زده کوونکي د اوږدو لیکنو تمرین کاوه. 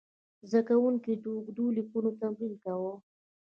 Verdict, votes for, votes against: rejected, 1, 2